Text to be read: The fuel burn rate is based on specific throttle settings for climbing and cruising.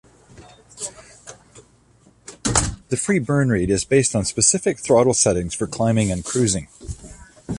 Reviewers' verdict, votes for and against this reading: rejected, 1, 2